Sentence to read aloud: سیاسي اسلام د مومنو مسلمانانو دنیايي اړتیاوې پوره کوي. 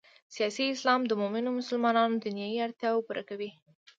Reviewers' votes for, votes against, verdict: 2, 0, accepted